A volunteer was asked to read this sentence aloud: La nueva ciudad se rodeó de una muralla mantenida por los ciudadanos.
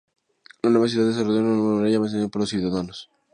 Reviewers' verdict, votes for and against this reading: rejected, 2, 2